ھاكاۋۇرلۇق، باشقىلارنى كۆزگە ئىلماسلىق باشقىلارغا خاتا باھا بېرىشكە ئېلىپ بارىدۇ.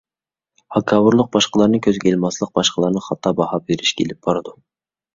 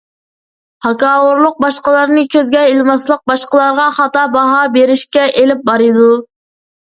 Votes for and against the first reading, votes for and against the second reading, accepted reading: 0, 2, 2, 0, second